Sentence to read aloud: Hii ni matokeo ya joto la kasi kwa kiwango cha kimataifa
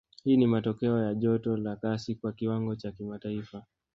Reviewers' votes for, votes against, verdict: 2, 0, accepted